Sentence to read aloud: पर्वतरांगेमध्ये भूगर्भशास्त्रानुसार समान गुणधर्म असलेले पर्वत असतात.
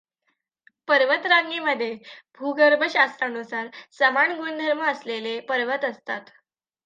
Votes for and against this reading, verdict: 2, 0, accepted